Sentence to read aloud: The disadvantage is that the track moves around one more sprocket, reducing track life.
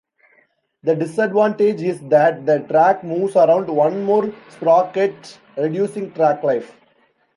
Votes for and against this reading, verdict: 2, 0, accepted